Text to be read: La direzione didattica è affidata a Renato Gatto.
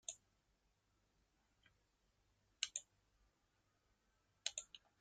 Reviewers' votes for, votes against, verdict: 0, 2, rejected